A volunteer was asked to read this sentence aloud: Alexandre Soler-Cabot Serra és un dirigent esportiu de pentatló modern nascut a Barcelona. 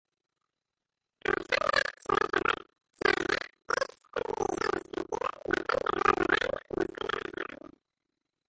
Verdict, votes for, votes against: rejected, 0, 2